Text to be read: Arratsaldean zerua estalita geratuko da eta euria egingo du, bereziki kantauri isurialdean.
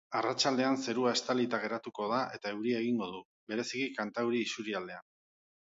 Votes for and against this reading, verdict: 3, 0, accepted